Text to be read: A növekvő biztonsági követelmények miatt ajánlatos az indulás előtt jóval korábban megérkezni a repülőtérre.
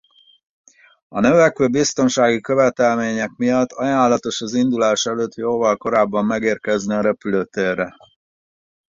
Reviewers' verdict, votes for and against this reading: accepted, 4, 0